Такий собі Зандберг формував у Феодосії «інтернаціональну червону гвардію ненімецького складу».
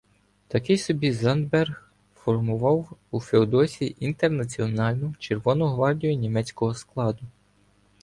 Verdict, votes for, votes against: rejected, 1, 2